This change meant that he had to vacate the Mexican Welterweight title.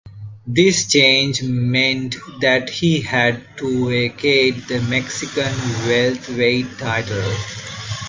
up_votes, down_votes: 1, 2